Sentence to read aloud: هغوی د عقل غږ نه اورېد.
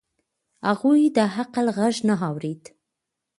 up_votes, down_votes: 1, 3